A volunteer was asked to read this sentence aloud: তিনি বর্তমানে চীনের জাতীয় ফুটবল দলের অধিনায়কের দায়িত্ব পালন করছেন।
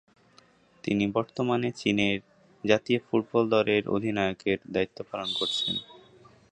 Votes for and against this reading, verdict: 1, 2, rejected